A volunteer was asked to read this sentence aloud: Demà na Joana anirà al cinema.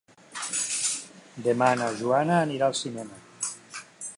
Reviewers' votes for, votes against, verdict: 0, 2, rejected